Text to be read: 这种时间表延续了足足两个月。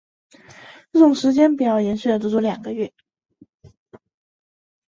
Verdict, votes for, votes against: accepted, 3, 1